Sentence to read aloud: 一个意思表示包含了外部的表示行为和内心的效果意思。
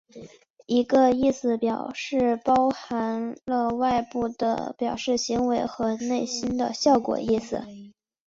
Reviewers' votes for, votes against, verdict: 2, 0, accepted